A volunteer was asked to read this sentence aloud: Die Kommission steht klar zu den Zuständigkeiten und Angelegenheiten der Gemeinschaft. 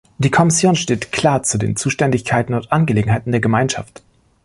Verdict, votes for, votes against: accepted, 2, 0